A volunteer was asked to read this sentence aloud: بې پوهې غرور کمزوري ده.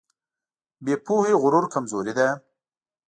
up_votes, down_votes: 2, 0